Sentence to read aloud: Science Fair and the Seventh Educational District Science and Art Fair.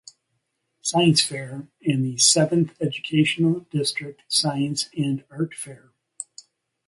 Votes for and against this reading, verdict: 2, 0, accepted